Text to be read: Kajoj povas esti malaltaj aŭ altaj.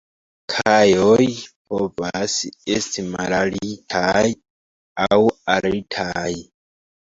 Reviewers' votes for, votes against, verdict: 2, 1, accepted